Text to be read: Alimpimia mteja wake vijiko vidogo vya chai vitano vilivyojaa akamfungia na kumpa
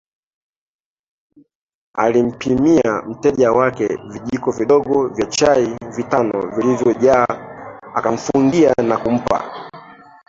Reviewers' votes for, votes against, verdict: 2, 1, accepted